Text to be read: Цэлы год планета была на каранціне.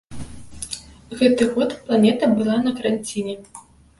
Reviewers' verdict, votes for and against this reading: rejected, 0, 2